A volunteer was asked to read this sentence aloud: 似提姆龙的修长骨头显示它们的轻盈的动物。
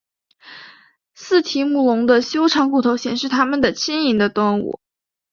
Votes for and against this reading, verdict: 5, 0, accepted